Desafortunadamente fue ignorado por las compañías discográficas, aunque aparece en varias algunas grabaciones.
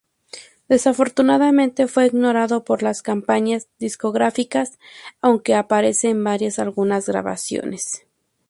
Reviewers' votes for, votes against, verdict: 0, 2, rejected